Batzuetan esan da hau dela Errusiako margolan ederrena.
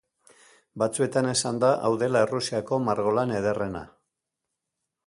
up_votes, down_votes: 2, 0